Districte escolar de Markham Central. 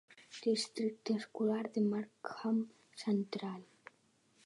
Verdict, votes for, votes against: accepted, 4, 0